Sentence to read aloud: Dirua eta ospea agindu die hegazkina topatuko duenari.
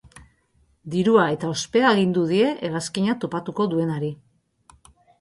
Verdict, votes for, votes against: accepted, 3, 0